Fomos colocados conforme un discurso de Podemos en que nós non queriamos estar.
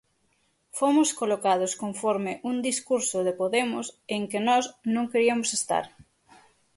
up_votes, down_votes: 3, 6